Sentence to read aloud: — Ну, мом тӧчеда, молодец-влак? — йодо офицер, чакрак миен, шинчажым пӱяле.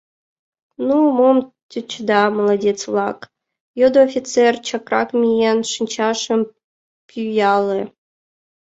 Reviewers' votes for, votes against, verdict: 2, 0, accepted